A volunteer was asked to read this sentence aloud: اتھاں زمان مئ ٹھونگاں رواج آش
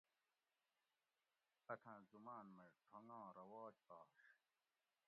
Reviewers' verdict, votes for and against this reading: rejected, 1, 2